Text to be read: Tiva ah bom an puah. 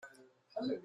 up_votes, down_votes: 0, 2